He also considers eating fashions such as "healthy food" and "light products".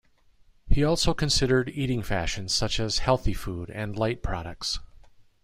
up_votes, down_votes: 0, 2